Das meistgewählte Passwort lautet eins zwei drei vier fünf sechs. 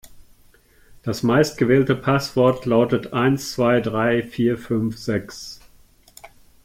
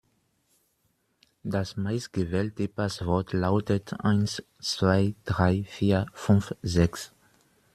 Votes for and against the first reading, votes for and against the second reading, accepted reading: 2, 0, 1, 2, first